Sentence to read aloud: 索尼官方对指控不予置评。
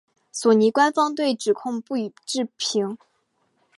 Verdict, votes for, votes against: accepted, 4, 0